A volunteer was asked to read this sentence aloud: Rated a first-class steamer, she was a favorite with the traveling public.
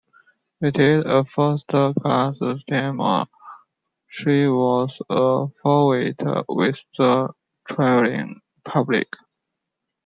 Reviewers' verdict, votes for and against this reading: rejected, 1, 2